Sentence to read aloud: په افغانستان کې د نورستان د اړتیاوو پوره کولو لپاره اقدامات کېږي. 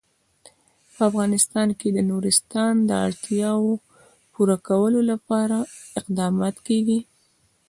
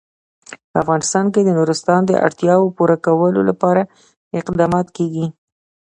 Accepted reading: second